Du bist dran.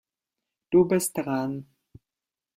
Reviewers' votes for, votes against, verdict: 3, 1, accepted